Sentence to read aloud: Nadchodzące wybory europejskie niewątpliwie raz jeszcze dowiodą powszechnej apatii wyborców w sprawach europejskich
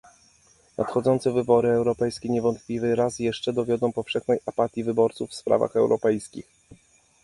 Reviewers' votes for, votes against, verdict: 2, 0, accepted